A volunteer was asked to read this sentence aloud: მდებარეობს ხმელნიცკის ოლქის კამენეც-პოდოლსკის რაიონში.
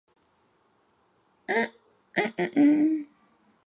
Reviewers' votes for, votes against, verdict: 0, 2, rejected